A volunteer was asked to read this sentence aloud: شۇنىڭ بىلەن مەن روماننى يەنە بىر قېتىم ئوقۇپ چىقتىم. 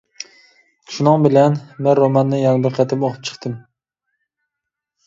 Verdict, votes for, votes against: accepted, 2, 0